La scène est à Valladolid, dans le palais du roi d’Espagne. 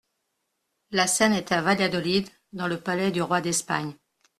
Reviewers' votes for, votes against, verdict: 2, 0, accepted